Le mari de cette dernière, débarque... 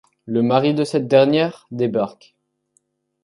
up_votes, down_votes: 2, 0